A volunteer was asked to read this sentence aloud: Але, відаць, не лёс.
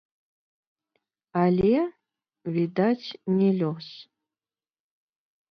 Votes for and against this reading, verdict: 0, 2, rejected